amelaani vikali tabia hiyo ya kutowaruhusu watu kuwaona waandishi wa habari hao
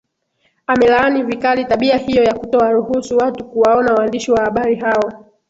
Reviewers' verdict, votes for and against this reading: rejected, 1, 2